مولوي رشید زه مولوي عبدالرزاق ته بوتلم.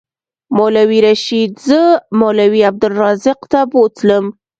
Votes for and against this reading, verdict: 2, 0, accepted